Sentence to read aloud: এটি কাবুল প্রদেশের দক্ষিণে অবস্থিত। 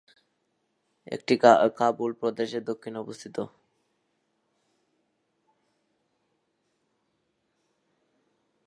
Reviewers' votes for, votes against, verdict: 0, 2, rejected